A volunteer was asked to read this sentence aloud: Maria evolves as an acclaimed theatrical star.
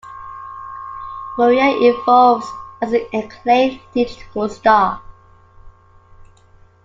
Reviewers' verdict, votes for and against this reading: rejected, 0, 2